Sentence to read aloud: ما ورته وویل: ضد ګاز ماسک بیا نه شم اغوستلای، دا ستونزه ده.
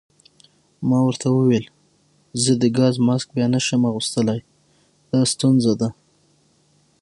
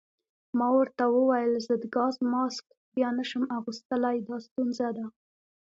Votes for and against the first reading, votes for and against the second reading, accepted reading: 3, 6, 2, 0, second